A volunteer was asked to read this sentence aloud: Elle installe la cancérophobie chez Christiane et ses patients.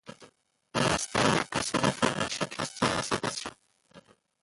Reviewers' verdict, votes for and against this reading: rejected, 0, 2